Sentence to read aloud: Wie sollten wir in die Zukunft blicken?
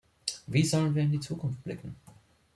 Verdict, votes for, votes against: rejected, 2, 4